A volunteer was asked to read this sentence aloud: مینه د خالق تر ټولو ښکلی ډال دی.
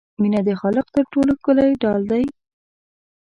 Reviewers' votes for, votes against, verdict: 2, 0, accepted